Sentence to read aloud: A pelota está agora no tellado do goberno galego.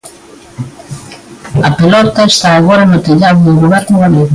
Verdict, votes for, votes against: rejected, 1, 2